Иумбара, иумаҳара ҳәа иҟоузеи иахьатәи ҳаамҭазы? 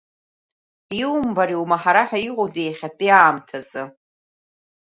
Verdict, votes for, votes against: rejected, 1, 2